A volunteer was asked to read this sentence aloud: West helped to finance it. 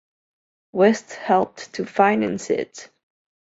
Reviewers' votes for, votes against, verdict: 2, 0, accepted